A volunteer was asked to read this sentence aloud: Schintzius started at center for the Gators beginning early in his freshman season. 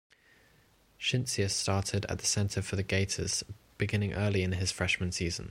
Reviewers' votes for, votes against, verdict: 2, 0, accepted